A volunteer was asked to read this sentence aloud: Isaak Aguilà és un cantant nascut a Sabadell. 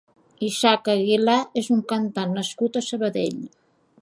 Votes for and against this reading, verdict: 2, 0, accepted